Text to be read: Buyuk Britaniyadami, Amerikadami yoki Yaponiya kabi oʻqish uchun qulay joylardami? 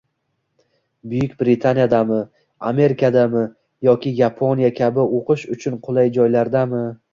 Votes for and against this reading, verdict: 2, 0, accepted